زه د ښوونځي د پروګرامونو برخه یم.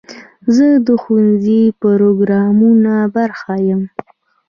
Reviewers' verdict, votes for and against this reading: accepted, 2, 0